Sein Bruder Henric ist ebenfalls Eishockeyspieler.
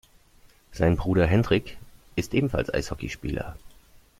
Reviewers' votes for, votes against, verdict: 1, 2, rejected